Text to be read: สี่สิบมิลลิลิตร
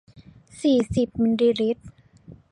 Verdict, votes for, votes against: rejected, 0, 2